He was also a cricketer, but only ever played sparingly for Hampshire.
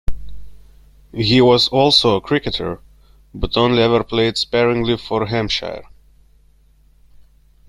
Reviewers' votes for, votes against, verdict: 1, 2, rejected